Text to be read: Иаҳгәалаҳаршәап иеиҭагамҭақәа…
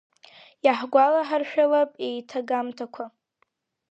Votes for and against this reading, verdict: 0, 2, rejected